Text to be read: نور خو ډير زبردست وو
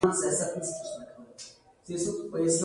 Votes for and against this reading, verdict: 2, 1, accepted